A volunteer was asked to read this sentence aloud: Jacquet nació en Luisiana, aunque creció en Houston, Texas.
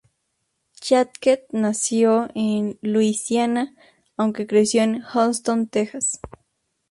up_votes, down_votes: 2, 0